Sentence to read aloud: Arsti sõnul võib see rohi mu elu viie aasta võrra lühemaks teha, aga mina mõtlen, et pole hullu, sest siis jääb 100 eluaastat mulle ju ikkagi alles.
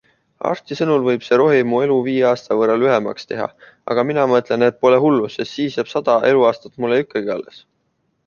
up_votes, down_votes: 0, 2